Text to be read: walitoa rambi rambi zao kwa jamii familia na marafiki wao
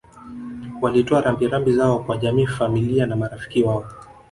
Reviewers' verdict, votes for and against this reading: rejected, 1, 2